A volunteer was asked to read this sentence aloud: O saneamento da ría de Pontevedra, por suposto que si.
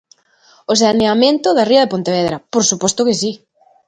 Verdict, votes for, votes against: accepted, 2, 0